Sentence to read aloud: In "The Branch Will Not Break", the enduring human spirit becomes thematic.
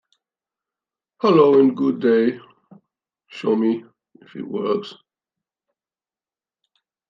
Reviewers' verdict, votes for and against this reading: rejected, 1, 2